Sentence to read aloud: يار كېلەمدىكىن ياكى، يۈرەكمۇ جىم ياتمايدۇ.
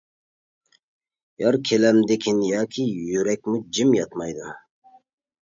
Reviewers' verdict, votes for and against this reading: accepted, 2, 0